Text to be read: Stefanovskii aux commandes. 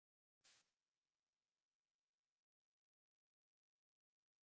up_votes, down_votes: 0, 2